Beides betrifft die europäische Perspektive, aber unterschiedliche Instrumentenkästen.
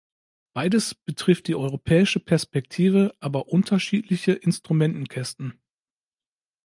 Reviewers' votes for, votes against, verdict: 2, 0, accepted